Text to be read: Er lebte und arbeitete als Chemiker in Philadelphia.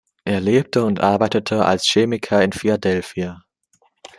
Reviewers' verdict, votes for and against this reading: accepted, 2, 0